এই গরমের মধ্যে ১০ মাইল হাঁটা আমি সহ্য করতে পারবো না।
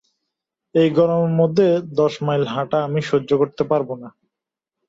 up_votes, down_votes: 0, 2